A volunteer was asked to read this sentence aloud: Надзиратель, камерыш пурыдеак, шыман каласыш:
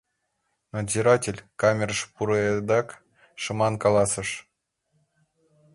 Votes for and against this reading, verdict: 1, 2, rejected